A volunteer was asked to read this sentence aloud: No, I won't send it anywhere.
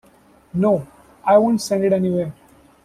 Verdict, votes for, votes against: accepted, 2, 0